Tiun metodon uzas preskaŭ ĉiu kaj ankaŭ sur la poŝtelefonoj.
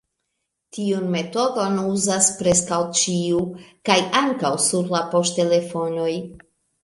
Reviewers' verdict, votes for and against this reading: accepted, 2, 0